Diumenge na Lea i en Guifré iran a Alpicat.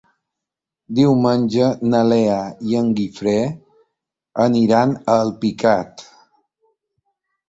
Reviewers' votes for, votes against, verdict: 1, 2, rejected